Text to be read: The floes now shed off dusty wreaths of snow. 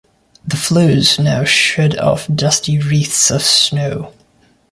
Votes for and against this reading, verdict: 0, 2, rejected